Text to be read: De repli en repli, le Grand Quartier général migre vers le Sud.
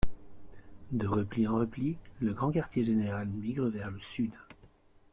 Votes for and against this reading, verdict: 1, 2, rejected